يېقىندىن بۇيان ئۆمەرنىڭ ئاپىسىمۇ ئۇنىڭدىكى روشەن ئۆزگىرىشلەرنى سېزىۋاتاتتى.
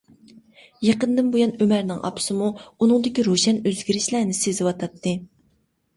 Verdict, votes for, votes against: accepted, 2, 0